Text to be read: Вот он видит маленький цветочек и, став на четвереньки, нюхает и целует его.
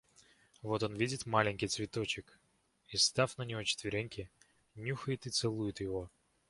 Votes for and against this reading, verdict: 1, 2, rejected